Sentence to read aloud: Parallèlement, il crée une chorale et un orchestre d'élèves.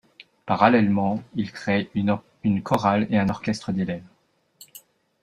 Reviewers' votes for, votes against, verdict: 0, 2, rejected